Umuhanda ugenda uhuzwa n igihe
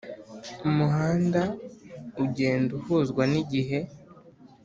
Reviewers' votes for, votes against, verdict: 3, 0, accepted